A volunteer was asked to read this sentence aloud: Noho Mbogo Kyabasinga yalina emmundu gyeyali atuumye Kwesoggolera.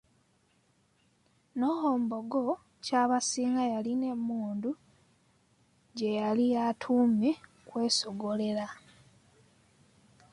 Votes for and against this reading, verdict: 1, 2, rejected